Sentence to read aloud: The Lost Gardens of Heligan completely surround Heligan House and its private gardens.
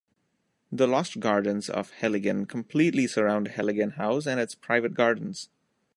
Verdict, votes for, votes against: accepted, 2, 0